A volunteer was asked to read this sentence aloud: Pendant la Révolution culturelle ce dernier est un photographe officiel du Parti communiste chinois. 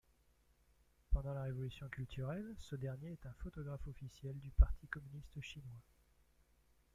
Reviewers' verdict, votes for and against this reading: accepted, 2, 1